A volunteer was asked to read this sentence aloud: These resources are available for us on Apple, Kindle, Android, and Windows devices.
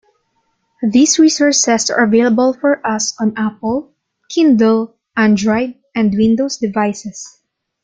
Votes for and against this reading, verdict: 2, 0, accepted